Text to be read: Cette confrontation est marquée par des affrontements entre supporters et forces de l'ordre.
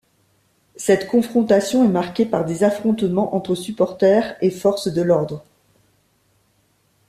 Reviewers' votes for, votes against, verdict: 2, 1, accepted